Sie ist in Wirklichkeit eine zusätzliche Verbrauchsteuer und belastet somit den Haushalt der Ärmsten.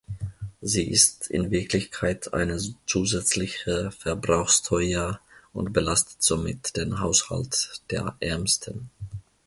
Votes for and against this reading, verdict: 0, 2, rejected